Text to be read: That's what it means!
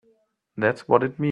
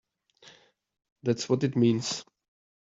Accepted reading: second